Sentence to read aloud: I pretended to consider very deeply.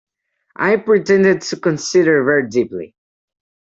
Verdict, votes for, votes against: accepted, 3, 0